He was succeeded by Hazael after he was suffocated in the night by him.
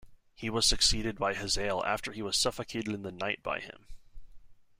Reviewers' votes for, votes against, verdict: 2, 0, accepted